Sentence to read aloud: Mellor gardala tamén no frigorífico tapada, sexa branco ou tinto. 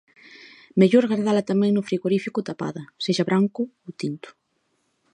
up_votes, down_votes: 2, 0